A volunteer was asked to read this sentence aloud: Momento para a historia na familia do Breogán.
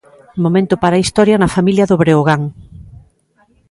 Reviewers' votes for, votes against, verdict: 2, 0, accepted